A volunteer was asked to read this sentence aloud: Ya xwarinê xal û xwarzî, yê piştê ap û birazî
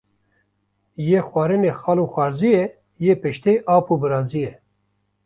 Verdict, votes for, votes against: rejected, 0, 2